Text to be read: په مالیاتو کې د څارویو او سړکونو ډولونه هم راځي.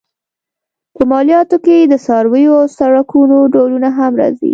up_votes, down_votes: 2, 0